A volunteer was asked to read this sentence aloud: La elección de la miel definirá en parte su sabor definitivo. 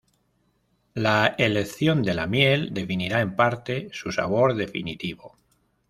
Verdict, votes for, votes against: rejected, 0, 2